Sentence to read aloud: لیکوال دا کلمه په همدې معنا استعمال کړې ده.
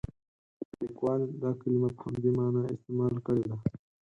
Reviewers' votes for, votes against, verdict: 2, 4, rejected